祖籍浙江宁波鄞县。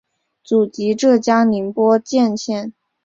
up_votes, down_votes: 3, 1